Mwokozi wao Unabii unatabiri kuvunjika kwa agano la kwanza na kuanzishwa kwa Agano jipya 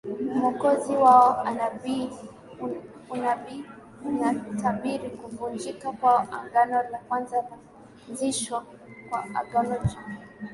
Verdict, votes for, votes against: rejected, 1, 2